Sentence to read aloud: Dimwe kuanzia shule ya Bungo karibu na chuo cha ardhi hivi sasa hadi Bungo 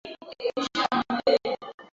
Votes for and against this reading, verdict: 0, 3, rejected